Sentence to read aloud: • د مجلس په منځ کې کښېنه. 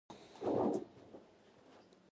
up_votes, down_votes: 1, 2